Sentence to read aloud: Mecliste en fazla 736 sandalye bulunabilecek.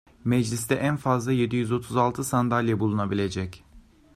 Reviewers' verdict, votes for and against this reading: rejected, 0, 2